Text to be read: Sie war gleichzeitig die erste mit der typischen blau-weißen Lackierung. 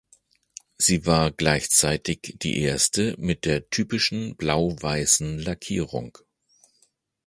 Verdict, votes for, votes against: accepted, 2, 0